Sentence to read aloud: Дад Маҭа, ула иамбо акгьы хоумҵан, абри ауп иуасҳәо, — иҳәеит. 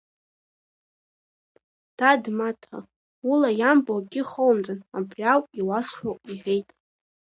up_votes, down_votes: 1, 2